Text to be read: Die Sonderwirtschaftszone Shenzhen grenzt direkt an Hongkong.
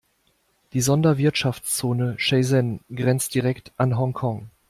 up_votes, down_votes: 1, 2